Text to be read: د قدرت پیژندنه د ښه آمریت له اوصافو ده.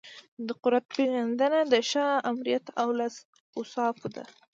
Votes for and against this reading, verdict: 2, 0, accepted